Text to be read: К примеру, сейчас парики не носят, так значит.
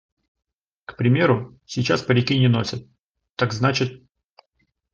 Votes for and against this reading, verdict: 2, 0, accepted